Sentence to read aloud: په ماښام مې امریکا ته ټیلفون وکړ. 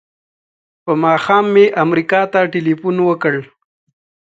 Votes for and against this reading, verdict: 2, 0, accepted